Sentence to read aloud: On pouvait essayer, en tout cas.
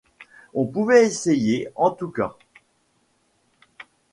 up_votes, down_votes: 2, 0